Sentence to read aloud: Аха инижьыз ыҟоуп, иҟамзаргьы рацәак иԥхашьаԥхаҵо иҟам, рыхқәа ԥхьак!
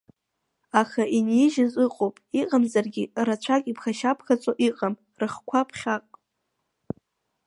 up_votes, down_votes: 1, 2